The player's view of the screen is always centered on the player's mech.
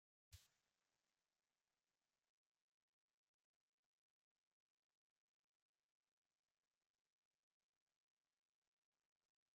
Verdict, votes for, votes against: rejected, 0, 2